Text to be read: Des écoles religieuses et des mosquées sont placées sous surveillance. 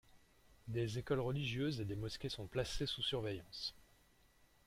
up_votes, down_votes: 2, 1